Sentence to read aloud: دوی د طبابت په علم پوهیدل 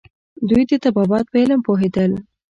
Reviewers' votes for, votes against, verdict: 3, 1, accepted